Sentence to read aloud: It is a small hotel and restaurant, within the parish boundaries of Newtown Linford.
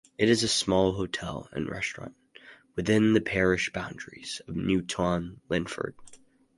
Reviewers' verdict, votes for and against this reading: accepted, 4, 0